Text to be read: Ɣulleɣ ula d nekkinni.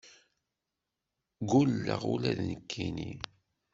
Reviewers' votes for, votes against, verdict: 0, 2, rejected